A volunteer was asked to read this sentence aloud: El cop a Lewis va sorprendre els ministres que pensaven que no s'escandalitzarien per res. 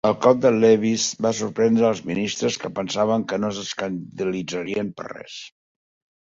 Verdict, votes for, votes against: rejected, 0, 2